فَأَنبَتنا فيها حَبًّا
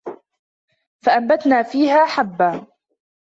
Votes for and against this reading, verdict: 2, 0, accepted